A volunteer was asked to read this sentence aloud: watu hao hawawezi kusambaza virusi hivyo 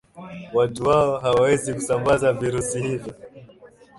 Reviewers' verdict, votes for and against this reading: accepted, 2, 1